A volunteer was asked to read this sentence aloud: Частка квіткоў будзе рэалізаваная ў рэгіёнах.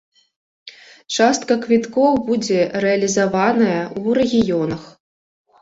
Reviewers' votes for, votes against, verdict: 1, 2, rejected